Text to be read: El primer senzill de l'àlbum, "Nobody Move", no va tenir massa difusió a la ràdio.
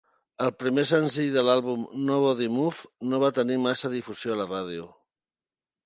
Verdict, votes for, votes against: accepted, 2, 0